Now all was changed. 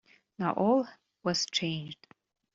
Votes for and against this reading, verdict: 2, 0, accepted